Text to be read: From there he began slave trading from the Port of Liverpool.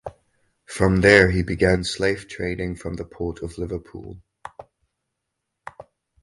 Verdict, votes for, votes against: accepted, 2, 0